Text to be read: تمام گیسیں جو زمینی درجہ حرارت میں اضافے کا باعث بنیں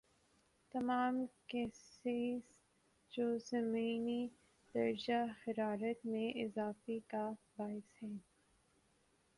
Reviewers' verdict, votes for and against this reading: rejected, 0, 2